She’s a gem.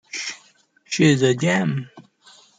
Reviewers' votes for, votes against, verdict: 2, 0, accepted